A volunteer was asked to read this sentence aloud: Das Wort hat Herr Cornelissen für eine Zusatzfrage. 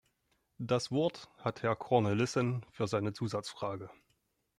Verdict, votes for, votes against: rejected, 1, 2